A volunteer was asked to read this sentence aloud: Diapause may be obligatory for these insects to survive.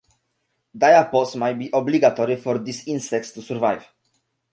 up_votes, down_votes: 2, 0